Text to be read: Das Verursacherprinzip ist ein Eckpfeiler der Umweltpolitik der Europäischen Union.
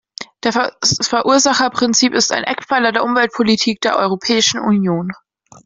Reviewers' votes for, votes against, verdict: 1, 2, rejected